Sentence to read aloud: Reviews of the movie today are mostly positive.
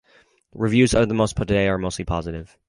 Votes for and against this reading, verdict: 0, 4, rejected